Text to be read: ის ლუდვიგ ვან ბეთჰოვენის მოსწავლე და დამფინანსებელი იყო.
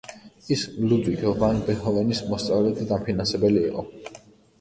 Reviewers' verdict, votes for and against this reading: rejected, 1, 2